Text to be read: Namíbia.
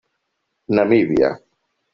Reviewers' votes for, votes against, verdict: 4, 0, accepted